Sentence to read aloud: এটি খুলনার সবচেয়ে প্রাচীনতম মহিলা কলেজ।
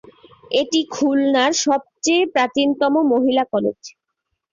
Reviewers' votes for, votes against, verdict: 12, 0, accepted